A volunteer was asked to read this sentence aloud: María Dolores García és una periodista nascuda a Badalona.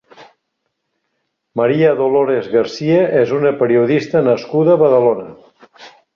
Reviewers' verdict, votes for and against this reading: accepted, 3, 0